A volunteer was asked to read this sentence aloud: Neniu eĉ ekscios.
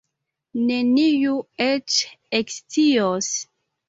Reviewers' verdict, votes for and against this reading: accepted, 2, 0